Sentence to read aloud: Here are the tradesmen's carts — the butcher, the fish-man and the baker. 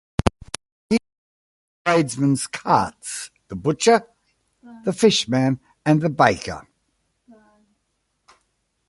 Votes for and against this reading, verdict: 0, 2, rejected